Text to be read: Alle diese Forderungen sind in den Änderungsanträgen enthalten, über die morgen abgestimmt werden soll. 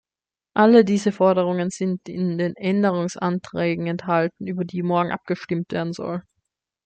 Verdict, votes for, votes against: accepted, 2, 0